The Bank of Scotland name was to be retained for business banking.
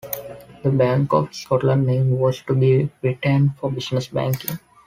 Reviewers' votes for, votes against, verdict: 2, 0, accepted